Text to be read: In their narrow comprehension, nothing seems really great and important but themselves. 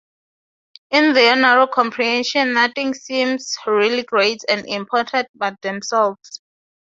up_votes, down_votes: 4, 0